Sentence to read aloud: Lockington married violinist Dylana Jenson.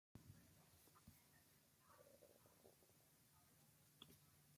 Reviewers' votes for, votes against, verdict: 0, 2, rejected